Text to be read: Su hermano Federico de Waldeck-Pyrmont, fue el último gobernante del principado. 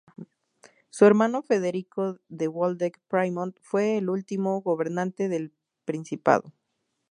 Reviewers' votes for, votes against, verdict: 2, 0, accepted